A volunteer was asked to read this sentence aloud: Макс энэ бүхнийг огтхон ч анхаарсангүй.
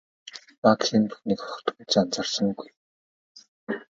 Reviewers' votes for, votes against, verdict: 2, 0, accepted